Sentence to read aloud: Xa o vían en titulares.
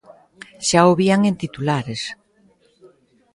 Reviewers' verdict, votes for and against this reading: accepted, 2, 0